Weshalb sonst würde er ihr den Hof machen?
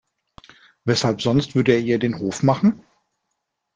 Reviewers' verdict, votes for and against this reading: accepted, 2, 0